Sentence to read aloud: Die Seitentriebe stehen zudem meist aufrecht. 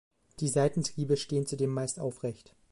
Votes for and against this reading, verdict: 2, 0, accepted